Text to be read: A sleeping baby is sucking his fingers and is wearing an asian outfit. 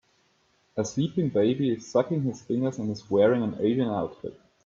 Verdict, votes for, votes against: accepted, 2, 0